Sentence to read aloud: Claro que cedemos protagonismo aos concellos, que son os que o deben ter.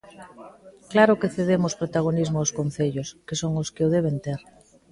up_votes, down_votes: 2, 0